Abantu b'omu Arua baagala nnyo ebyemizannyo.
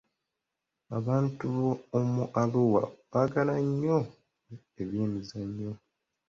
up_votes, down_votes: 1, 2